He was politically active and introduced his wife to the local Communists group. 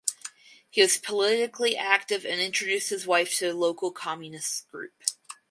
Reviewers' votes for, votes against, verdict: 2, 0, accepted